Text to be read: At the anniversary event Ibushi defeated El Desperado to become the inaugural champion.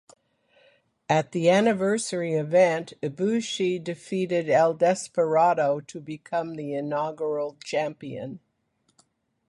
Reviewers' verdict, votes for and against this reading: accepted, 2, 1